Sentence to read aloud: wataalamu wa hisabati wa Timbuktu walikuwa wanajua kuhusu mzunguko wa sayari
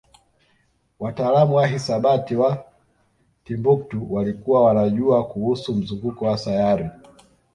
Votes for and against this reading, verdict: 2, 1, accepted